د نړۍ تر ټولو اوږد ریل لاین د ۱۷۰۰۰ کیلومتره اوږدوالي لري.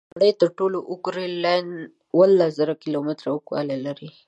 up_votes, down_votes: 0, 2